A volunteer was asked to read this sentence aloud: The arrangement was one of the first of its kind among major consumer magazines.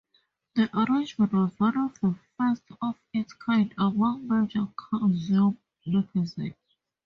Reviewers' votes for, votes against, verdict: 0, 2, rejected